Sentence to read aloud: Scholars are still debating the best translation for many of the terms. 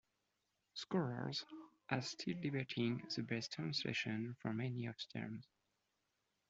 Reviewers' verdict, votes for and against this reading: accepted, 2, 0